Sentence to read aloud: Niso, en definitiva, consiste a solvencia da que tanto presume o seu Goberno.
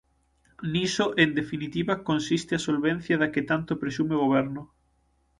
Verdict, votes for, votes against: rejected, 3, 6